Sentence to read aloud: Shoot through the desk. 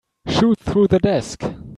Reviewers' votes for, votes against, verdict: 2, 0, accepted